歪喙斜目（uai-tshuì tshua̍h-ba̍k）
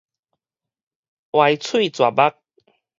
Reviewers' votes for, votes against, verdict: 2, 2, rejected